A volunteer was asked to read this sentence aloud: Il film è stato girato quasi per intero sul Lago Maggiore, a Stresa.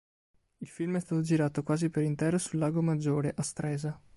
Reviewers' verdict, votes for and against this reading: accepted, 2, 1